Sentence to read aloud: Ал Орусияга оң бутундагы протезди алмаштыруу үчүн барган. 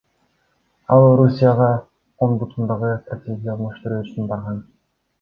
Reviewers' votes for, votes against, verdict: 2, 0, accepted